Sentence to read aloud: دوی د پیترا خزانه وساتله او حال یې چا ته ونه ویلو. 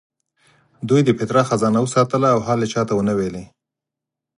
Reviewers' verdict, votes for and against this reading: accepted, 4, 0